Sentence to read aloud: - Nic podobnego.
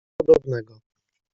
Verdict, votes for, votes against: rejected, 1, 2